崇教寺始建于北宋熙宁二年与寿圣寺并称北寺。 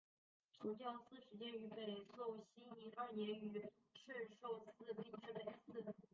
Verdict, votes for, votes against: rejected, 0, 2